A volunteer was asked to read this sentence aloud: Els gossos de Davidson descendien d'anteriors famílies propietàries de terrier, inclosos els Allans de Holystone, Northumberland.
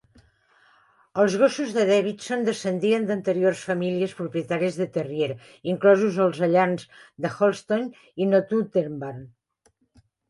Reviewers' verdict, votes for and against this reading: rejected, 1, 2